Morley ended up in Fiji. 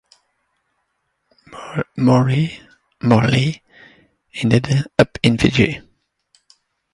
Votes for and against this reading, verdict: 0, 2, rejected